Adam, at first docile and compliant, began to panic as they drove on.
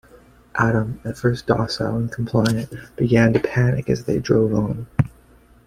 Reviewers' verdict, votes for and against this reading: accepted, 2, 0